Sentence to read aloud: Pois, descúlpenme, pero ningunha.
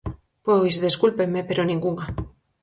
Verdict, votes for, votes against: accepted, 4, 0